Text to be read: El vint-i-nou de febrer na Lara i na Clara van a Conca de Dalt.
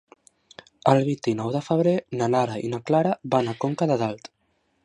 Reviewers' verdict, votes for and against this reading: accepted, 3, 0